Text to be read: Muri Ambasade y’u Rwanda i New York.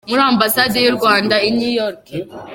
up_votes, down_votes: 2, 0